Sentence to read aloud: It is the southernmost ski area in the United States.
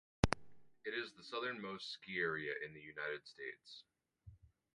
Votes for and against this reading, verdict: 2, 2, rejected